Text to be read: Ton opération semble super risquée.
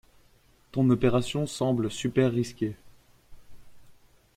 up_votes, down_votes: 2, 0